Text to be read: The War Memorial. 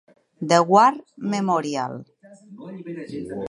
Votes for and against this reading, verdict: 3, 0, accepted